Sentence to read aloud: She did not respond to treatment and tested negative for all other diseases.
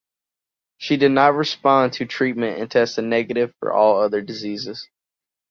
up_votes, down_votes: 2, 0